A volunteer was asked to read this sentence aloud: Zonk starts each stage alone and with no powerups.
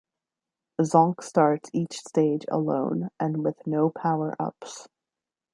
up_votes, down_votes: 2, 0